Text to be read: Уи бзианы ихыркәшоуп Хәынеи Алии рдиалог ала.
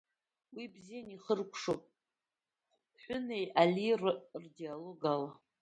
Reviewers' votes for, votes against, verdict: 0, 2, rejected